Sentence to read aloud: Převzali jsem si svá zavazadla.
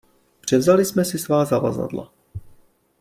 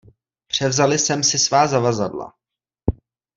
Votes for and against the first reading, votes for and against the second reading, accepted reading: 2, 1, 0, 2, first